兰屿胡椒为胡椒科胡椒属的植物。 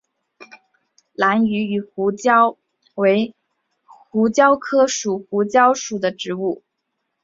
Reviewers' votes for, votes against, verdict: 0, 2, rejected